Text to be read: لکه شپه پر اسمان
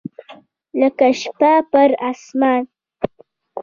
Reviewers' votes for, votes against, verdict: 1, 2, rejected